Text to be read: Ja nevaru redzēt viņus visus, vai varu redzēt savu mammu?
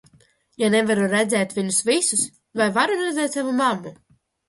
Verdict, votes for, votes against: rejected, 1, 2